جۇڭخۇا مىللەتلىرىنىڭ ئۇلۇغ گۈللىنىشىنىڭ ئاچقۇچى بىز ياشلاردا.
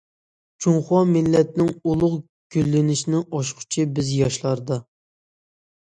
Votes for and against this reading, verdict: 0, 2, rejected